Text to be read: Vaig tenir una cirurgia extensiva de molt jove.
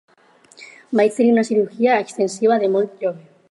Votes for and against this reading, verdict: 4, 0, accepted